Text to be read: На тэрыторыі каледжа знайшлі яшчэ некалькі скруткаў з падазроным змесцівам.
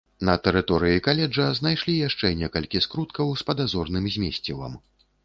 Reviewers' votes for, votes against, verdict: 0, 2, rejected